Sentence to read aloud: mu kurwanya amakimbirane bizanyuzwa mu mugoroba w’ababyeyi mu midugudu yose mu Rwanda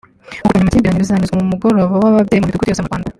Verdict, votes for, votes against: rejected, 0, 2